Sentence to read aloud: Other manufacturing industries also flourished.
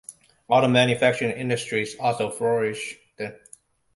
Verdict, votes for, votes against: rejected, 0, 2